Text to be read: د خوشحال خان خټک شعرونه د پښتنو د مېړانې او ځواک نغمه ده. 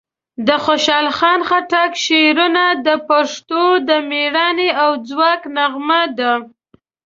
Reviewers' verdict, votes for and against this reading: rejected, 0, 2